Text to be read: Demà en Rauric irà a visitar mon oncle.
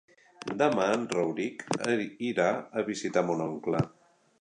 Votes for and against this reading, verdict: 2, 1, accepted